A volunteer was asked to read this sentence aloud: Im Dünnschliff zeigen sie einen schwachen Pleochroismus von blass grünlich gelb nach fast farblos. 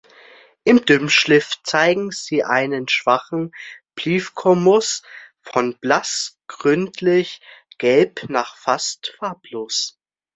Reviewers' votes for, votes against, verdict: 0, 2, rejected